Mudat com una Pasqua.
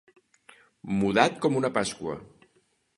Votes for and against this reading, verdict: 2, 0, accepted